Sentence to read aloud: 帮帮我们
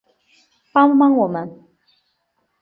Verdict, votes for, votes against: accepted, 3, 0